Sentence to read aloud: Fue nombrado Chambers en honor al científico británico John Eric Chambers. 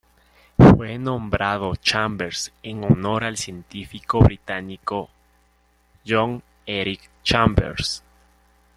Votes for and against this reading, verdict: 0, 2, rejected